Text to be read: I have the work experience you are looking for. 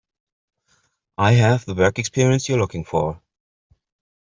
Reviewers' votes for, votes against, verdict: 1, 2, rejected